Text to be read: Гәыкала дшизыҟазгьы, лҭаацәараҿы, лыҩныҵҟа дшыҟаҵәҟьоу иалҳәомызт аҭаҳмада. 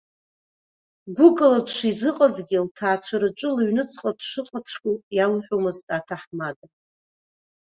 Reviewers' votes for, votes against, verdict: 2, 0, accepted